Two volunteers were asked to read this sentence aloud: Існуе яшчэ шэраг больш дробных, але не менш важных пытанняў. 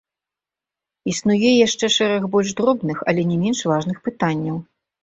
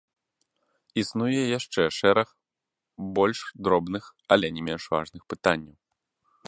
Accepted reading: first